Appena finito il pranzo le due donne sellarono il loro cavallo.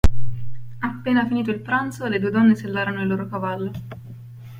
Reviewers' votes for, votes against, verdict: 2, 0, accepted